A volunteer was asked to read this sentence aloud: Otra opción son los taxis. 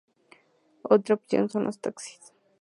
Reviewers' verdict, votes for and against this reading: accepted, 2, 0